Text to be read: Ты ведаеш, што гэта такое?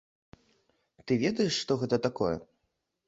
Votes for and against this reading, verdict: 2, 0, accepted